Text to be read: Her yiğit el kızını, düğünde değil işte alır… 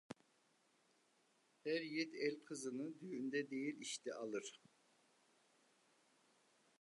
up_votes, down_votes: 2, 0